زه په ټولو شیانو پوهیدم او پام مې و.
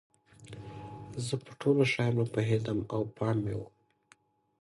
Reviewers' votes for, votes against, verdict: 2, 0, accepted